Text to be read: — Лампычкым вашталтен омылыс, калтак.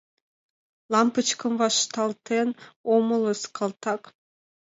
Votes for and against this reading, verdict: 2, 0, accepted